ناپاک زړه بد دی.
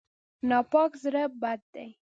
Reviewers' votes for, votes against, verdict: 2, 0, accepted